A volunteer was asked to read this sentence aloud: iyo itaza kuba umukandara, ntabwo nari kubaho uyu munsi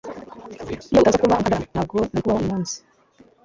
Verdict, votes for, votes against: rejected, 1, 2